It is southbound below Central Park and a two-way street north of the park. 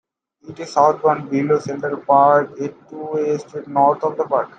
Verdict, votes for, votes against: accepted, 2, 1